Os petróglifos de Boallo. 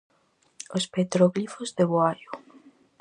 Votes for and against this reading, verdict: 0, 4, rejected